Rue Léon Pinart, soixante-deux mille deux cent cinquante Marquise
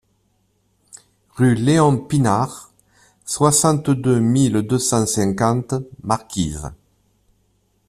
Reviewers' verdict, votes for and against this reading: accepted, 2, 0